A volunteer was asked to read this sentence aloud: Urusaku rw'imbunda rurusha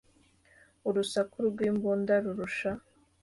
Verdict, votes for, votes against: accepted, 2, 0